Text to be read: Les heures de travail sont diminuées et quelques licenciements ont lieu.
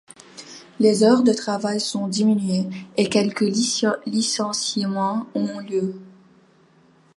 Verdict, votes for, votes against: rejected, 0, 2